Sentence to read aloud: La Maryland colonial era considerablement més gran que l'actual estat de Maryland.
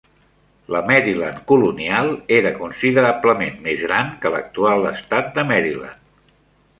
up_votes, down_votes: 3, 0